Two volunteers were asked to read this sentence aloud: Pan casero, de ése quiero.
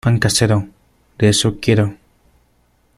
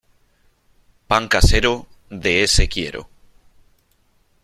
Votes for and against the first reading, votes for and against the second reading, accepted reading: 0, 2, 2, 0, second